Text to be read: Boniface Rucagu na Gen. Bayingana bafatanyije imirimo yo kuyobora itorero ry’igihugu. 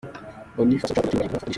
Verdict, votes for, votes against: rejected, 0, 2